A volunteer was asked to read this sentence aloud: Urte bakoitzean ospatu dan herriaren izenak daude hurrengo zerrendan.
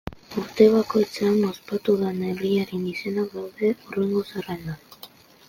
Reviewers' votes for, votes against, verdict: 0, 2, rejected